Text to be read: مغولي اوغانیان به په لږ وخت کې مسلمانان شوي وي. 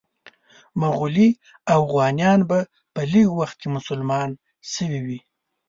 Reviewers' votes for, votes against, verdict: 4, 5, rejected